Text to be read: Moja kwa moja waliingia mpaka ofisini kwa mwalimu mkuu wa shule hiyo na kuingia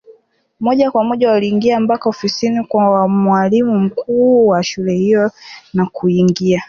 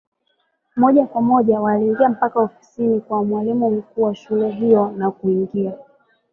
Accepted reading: first